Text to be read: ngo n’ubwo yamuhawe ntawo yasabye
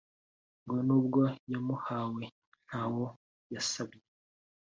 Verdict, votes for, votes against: accepted, 3, 0